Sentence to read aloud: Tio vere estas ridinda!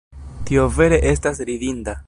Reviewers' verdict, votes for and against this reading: accepted, 2, 0